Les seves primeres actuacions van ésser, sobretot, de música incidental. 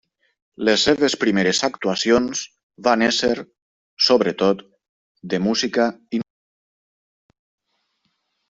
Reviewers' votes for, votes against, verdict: 0, 2, rejected